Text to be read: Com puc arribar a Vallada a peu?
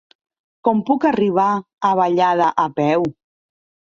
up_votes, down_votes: 3, 0